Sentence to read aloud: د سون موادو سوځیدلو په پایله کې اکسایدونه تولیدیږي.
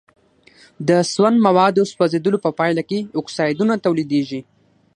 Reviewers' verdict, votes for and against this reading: accepted, 6, 0